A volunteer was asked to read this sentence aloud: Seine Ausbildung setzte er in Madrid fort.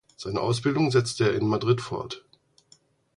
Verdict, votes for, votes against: accepted, 4, 0